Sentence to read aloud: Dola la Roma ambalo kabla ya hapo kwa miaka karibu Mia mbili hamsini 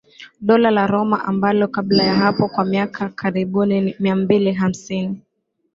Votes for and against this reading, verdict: 0, 2, rejected